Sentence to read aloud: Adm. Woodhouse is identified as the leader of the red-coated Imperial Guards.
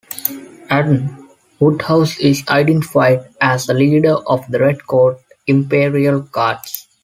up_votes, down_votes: 0, 2